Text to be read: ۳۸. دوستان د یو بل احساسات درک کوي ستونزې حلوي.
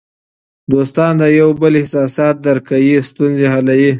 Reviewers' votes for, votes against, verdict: 0, 2, rejected